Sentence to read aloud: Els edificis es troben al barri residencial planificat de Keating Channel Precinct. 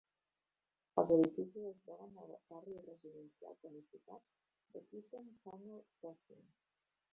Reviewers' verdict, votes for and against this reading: rejected, 1, 2